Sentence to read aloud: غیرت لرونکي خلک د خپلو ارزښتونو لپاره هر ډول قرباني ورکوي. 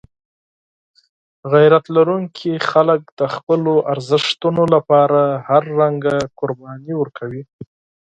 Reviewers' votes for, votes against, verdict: 2, 4, rejected